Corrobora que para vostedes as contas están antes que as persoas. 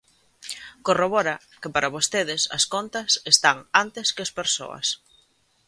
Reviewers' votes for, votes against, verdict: 2, 0, accepted